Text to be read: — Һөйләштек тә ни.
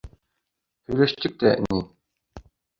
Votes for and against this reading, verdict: 2, 0, accepted